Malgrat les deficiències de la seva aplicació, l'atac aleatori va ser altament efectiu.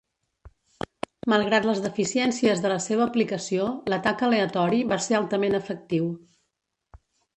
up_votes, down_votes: 1, 2